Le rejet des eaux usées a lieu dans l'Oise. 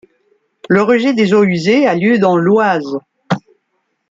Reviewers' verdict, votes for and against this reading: accepted, 2, 0